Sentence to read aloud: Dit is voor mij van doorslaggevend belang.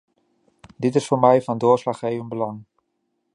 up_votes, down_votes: 2, 0